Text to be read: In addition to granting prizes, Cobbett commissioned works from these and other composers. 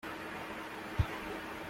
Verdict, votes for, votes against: rejected, 0, 2